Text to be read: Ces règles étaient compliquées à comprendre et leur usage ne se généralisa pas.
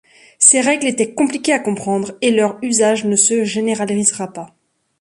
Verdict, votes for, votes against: rejected, 0, 2